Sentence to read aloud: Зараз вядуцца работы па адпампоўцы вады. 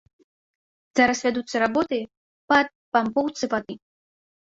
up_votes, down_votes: 1, 2